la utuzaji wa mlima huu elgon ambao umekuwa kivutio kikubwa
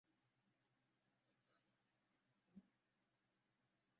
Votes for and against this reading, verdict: 0, 2, rejected